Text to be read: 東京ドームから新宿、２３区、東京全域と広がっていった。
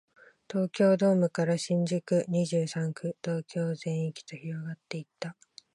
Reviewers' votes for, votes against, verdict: 0, 2, rejected